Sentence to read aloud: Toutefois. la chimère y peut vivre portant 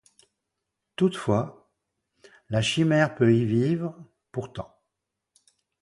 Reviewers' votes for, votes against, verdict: 0, 2, rejected